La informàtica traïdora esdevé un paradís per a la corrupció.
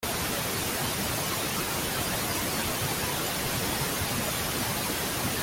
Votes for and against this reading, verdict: 0, 2, rejected